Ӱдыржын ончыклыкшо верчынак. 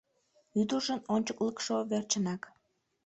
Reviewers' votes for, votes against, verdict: 2, 0, accepted